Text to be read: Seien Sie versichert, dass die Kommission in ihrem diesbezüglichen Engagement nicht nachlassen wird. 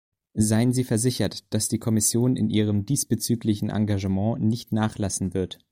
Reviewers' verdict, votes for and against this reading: accepted, 2, 0